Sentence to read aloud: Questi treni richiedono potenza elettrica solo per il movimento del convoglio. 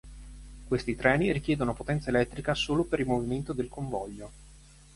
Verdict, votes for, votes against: accepted, 4, 0